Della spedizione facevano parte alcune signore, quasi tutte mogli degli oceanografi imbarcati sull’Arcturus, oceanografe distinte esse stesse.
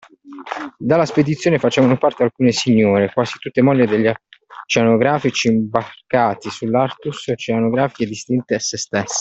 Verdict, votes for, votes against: rejected, 0, 2